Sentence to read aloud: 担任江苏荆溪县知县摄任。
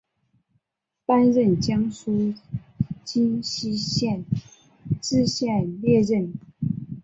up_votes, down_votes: 1, 2